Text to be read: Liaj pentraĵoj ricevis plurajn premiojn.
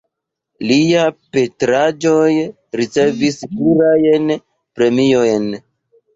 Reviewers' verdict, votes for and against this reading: accepted, 2, 1